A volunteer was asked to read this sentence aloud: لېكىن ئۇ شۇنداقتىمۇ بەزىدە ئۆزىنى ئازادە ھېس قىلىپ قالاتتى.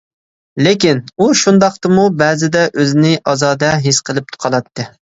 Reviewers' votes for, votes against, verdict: 2, 1, accepted